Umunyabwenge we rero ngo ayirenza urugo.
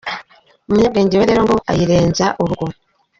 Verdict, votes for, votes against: accepted, 2, 1